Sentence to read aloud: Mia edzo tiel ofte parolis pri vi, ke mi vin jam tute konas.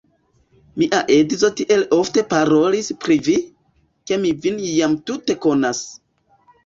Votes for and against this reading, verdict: 1, 2, rejected